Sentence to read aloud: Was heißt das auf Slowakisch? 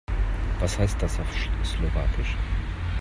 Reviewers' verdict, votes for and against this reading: rejected, 0, 2